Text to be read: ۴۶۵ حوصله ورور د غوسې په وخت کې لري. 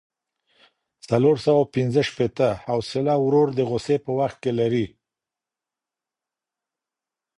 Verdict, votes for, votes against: rejected, 0, 2